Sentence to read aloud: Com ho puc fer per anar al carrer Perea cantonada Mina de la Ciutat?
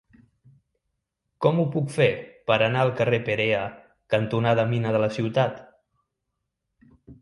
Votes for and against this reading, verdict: 3, 0, accepted